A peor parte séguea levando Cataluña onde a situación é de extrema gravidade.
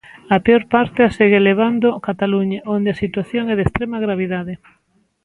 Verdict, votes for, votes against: rejected, 1, 2